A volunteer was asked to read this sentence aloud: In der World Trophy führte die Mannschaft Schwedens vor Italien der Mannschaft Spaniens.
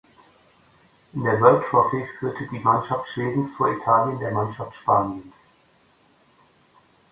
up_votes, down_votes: 2, 0